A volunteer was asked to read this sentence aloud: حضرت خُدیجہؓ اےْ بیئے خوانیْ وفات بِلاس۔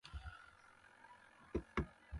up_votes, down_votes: 0, 2